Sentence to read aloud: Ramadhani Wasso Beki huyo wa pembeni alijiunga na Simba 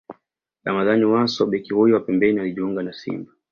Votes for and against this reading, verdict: 2, 0, accepted